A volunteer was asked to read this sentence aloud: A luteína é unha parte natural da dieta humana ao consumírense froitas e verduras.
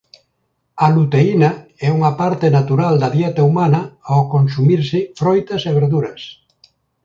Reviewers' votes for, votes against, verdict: 0, 2, rejected